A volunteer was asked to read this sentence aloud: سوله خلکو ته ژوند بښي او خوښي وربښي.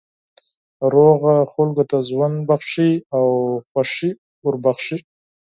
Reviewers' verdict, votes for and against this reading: rejected, 2, 4